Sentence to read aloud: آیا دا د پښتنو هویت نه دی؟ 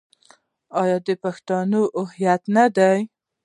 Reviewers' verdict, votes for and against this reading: rejected, 1, 2